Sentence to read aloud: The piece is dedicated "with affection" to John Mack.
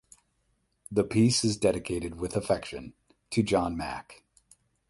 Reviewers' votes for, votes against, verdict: 4, 0, accepted